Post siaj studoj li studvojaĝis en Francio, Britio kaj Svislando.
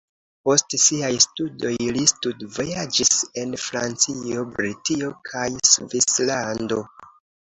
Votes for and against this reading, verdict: 3, 0, accepted